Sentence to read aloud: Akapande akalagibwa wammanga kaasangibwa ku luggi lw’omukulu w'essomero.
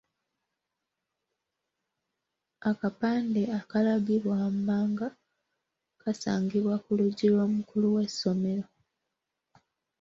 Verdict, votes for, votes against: rejected, 0, 2